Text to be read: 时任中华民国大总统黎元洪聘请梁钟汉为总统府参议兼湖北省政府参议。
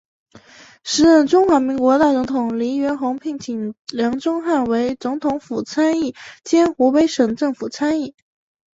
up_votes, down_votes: 2, 0